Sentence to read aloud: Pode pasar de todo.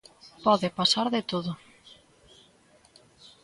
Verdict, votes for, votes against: accepted, 3, 0